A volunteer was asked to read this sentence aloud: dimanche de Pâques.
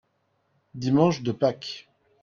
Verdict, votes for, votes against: accepted, 2, 0